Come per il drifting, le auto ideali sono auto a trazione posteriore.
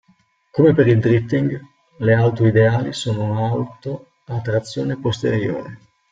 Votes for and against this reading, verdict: 1, 2, rejected